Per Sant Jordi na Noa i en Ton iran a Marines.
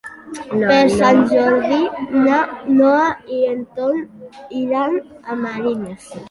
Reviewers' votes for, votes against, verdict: 1, 2, rejected